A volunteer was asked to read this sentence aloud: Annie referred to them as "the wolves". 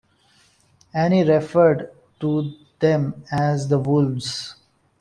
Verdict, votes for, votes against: accepted, 3, 1